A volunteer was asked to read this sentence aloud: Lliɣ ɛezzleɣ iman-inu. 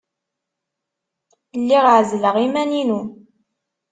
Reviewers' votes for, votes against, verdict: 2, 0, accepted